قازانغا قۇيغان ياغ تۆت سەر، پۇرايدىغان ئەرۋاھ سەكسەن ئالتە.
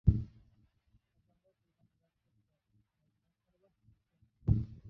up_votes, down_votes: 0, 2